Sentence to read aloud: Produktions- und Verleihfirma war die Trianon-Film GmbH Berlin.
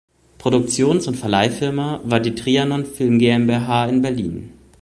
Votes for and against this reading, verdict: 0, 3, rejected